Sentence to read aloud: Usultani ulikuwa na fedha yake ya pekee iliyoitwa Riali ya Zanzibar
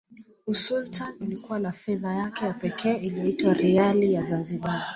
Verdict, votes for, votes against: accepted, 2, 0